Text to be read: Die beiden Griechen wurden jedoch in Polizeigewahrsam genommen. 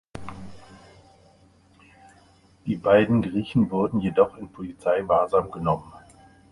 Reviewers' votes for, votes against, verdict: 0, 2, rejected